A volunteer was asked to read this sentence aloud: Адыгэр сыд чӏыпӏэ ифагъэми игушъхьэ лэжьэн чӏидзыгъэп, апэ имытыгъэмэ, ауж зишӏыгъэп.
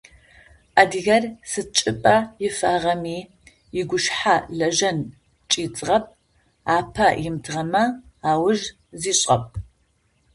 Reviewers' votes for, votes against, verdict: 0, 2, rejected